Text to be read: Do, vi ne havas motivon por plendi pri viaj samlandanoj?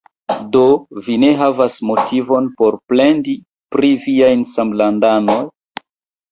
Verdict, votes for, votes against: rejected, 1, 2